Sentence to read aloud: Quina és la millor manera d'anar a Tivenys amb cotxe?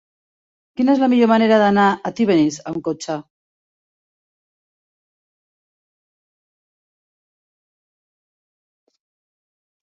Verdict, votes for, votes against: rejected, 1, 2